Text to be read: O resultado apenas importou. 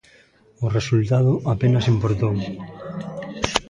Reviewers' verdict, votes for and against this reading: rejected, 0, 2